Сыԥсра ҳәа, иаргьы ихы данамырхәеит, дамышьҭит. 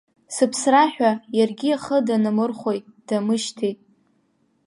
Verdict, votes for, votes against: rejected, 0, 2